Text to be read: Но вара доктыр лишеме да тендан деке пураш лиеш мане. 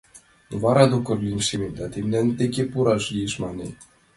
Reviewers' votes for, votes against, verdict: 1, 2, rejected